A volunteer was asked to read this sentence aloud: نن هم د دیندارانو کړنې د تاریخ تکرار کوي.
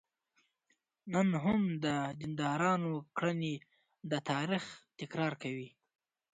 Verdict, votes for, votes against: accepted, 2, 0